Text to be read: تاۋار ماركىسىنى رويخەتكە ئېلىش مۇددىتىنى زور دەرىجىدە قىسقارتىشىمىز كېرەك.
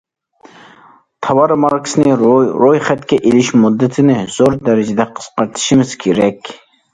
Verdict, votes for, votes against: rejected, 0, 2